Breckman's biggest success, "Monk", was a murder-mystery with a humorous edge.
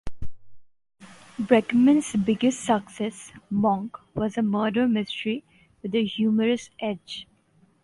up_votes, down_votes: 2, 0